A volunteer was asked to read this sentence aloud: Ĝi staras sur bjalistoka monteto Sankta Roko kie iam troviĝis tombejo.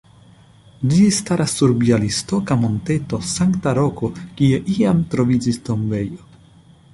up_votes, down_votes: 2, 0